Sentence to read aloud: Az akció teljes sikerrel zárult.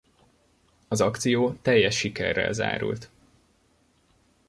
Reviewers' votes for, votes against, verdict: 2, 0, accepted